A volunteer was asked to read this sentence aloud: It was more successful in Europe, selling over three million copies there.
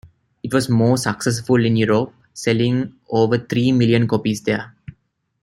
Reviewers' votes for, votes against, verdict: 2, 1, accepted